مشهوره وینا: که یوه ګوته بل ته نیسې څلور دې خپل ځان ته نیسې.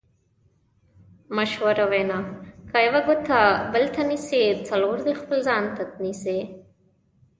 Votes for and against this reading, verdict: 1, 2, rejected